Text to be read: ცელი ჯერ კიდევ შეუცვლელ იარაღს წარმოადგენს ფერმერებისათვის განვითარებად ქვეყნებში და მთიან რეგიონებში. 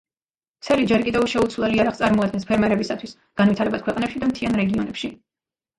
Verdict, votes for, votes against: rejected, 1, 2